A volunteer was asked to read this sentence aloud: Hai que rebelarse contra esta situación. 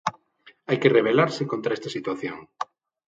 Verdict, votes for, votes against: accepted, 6, 0